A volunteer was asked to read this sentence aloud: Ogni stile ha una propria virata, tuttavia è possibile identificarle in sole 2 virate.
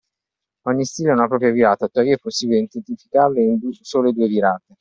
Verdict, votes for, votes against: rejected, 0, 2